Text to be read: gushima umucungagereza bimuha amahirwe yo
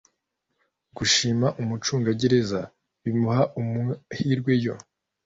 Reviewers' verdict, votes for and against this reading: rejected, 0, 2